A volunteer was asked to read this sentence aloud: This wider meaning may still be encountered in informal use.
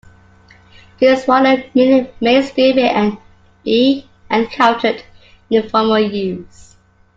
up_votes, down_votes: 0, 2